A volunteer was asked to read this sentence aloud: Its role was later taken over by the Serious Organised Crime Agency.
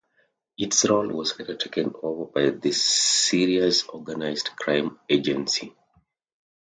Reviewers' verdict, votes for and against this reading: accepted, 2, 0